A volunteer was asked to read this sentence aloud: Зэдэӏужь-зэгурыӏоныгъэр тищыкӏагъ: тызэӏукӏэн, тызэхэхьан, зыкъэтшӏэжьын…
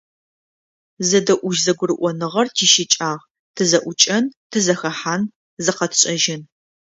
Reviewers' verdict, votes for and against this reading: accepted, 2, 0